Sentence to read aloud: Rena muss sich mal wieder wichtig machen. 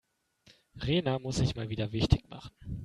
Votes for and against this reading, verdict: 2, 0, accepted